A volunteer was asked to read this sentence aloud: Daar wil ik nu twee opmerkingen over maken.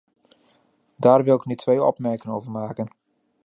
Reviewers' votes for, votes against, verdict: 0, 2, rejected